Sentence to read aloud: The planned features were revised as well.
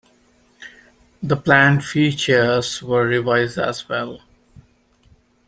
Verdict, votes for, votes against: accepted, 2, 0